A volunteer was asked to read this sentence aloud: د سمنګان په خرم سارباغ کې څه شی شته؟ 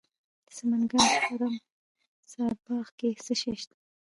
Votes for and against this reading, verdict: 2, 1, accepted